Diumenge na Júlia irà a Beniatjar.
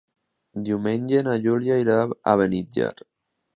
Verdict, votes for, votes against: accepted, 2, 1